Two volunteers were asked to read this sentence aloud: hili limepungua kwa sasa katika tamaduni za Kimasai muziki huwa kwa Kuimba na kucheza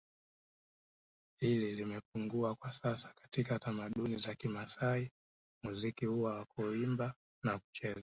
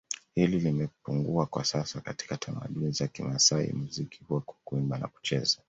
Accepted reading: second